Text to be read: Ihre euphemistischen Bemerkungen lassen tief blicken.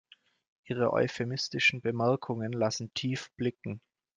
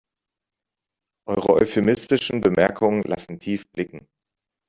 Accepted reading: first